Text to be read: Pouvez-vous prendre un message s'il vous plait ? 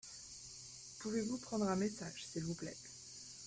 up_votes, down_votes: 2, 0